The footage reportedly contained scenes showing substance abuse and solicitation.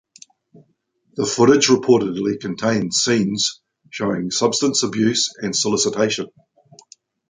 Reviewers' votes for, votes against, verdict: 2, 0, accepted